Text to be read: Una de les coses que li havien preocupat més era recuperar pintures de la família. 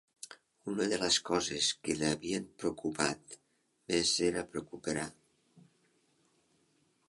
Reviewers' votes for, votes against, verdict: 0, 2, rejected